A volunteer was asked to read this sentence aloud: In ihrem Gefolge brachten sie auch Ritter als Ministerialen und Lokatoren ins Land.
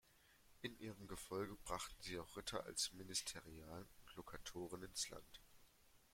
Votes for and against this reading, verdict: 2, 1, accepted